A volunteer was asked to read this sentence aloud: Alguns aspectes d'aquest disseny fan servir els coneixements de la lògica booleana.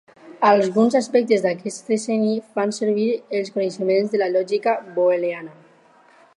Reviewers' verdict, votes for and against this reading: rejected, 0, 6